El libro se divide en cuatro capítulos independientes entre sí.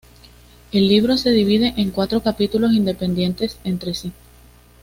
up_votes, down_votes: 2, 0